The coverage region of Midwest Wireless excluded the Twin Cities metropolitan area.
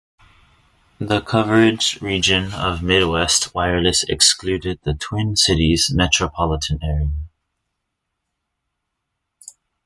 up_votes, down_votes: 2, 0